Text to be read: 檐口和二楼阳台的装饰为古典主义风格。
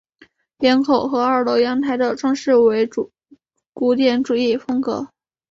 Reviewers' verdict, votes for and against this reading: accepted, 4, 2